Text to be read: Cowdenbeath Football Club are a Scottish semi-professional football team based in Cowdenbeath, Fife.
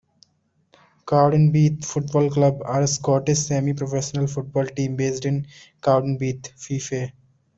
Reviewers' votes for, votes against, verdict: 1, 2, rejected